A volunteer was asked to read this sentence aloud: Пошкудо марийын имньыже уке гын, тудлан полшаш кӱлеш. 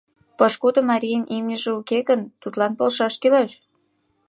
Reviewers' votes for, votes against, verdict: 2, 0, accepted